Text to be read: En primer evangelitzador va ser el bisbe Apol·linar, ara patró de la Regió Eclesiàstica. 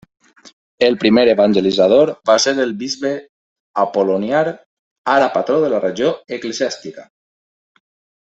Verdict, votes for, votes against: rejected, 1, 2